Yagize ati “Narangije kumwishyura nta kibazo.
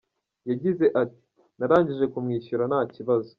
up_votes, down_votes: 2, 0